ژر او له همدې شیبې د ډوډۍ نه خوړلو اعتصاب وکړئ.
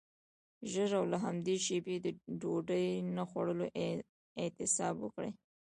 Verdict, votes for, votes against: rejected, 0, 2